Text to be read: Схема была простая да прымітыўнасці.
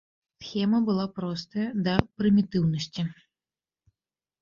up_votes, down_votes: 2, 0